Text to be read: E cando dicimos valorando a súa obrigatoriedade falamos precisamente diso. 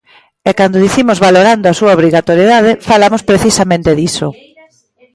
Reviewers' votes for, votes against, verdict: 2, 0, accepted